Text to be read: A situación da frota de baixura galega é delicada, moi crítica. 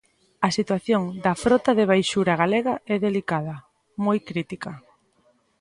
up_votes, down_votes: 2, 0